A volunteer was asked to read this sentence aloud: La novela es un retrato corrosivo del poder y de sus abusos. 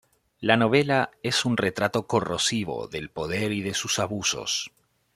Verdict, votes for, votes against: accepted, 2, 0